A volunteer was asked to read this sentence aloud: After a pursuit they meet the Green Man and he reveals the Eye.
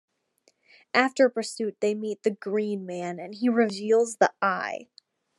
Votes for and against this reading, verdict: 2, 0, accepted